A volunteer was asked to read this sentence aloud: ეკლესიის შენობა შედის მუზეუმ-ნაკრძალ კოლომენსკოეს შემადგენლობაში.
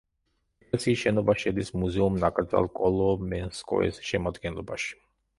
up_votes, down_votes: 0, 2